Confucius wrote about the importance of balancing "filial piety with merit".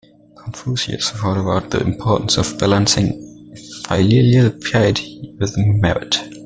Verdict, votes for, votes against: rejected, 1, 2